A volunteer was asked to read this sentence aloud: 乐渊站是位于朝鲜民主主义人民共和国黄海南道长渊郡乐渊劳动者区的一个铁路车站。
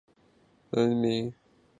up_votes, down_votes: 0, 2